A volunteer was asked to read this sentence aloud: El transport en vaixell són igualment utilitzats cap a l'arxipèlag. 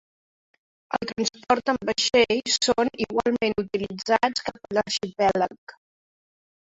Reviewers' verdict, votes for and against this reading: rejected, 1, 2